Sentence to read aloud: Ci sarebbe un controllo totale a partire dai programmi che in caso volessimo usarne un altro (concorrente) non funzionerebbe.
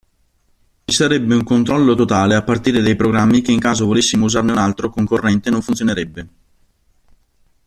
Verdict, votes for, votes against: rejected, 1, 2